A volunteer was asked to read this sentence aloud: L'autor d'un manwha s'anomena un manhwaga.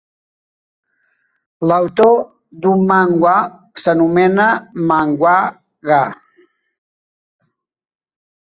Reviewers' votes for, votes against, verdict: 1, 2, rejected